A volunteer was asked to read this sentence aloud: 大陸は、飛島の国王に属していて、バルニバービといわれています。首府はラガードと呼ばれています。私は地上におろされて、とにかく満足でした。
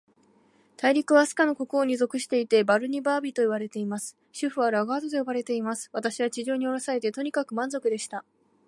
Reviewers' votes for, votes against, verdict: 2, 0, accepted